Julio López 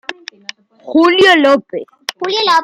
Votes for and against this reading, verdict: 1, 2, rejected